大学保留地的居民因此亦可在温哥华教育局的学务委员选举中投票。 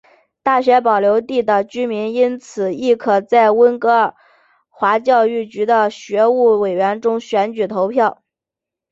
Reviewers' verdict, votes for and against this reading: rejected, 1, 2